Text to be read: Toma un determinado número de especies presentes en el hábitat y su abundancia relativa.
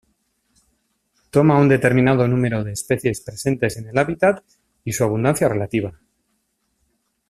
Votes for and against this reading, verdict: 2, 0, accepted